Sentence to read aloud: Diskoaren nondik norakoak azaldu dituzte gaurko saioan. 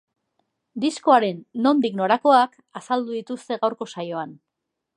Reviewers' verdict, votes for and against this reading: accepted, 4, 1